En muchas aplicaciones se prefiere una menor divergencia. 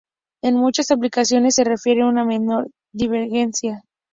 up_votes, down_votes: 0, 2